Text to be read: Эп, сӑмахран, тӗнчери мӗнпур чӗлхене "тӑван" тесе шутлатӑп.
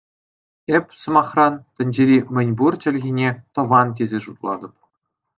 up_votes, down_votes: 2, 0